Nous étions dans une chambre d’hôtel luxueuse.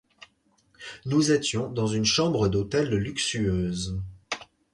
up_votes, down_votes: 4, 0